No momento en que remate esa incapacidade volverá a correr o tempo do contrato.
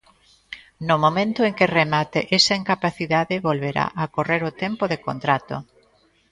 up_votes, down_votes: 0, 2